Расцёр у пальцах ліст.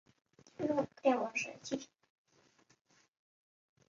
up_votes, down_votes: 1, 2